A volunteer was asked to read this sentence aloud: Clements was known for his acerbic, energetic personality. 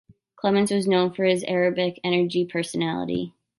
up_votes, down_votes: 0, 2